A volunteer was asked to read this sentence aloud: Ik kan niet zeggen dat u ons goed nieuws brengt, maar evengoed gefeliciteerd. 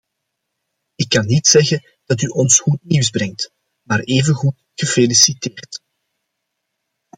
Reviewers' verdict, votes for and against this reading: accepted, 2, 0